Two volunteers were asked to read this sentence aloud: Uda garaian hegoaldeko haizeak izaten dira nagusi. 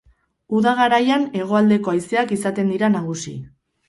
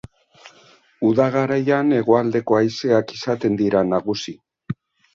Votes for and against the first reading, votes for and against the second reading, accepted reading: 0, 2, 2, 0, second